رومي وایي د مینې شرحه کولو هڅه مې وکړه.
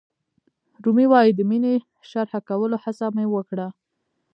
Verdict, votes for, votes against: rejected, 0, 2